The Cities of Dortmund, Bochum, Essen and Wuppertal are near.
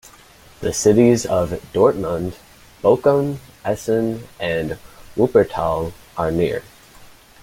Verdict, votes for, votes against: accepted, 2, 0